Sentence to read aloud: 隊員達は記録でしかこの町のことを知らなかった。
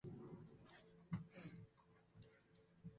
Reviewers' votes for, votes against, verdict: 11, 40, rejected